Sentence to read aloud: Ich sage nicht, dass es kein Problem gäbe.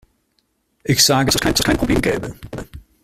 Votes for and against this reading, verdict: 0, 2, rejected